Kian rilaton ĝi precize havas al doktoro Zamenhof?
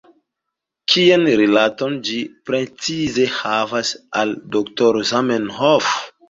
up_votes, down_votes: 0, 2